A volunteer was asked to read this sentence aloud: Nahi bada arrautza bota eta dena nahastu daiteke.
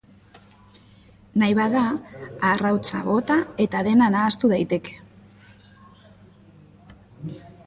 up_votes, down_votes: 2, 0